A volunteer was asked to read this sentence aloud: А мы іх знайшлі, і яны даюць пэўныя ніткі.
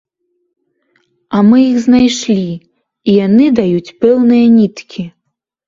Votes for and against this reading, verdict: 2, 0, accepted